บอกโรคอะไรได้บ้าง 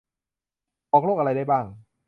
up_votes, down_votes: 2, 0